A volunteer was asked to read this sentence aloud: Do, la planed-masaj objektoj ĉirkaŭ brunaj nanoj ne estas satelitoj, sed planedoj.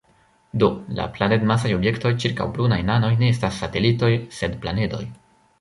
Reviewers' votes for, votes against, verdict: 0, 2, rejected